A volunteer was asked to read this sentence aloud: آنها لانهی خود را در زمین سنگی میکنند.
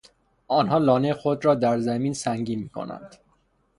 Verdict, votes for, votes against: rejected, 0, 3